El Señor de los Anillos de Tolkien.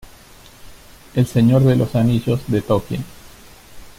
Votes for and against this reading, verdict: 1, 2, rejected